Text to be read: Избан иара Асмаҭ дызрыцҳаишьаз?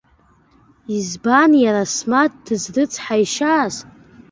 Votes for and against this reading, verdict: 2, 0, accepted